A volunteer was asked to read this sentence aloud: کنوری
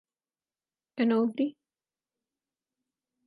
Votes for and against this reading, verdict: 2, 4, rejected